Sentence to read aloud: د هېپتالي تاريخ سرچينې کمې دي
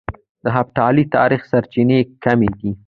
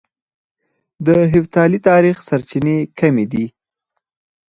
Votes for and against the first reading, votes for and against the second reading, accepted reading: 2, 0, 0, 4, first